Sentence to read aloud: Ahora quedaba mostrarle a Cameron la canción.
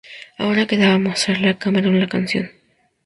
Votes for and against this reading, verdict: 2, 4, rejected